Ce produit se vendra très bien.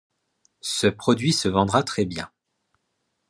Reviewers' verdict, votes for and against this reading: accepted, 2, 0